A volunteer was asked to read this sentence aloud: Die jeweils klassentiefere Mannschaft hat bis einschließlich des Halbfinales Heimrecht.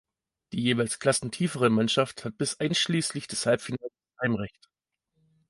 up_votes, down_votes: 1, 2